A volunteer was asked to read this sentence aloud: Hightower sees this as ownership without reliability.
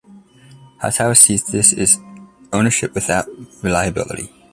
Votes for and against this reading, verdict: 2, 1, accepted